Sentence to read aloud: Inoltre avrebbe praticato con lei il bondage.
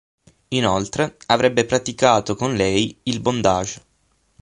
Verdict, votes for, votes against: accepted, 9, 0